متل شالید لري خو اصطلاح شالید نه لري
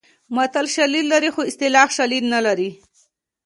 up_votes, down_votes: 1, 2